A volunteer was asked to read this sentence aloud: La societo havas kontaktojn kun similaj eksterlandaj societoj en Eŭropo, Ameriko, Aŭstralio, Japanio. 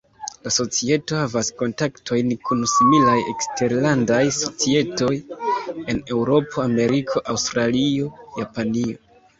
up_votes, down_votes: 0, 2